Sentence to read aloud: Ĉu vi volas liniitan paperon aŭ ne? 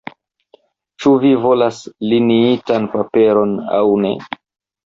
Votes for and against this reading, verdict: 0, 2, rejected